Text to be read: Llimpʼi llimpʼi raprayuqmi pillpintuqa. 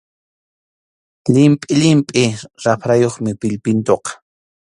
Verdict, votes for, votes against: accepted, 2, 0